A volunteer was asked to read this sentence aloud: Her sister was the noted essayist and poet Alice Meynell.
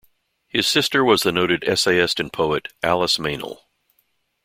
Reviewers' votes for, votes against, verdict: 1, 2, rejected